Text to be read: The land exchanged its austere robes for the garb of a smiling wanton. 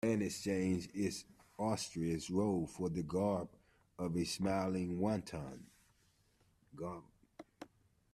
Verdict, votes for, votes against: rejected, 0, 2